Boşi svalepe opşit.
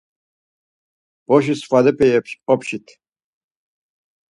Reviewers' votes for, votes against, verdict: 2, 4, rejected